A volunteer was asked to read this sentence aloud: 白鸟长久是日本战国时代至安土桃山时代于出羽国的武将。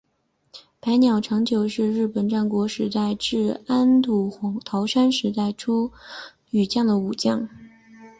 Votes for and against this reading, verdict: 2, 0, accepted